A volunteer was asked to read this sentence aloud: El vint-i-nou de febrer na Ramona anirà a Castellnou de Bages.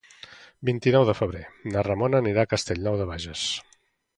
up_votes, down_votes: 0, 2